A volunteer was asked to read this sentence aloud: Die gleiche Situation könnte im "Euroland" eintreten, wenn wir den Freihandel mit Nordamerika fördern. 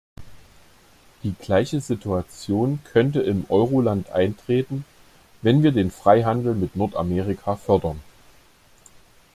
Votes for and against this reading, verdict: 2, 0, accepted